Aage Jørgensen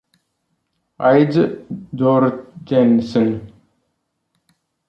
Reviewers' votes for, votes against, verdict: 1, 2, rejected